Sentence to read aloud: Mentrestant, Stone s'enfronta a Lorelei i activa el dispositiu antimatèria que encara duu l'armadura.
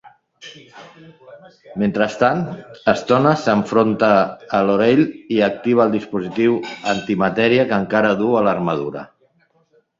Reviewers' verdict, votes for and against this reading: rejected, 1, 2